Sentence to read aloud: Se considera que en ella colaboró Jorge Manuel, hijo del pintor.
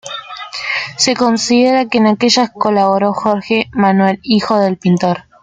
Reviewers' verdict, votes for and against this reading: rejected, 0, 2